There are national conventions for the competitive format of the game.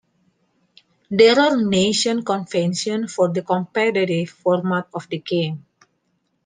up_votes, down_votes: 0, 2